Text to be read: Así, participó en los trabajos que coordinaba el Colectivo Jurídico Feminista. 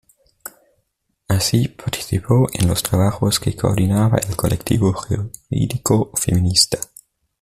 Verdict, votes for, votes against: rejected, 0, 2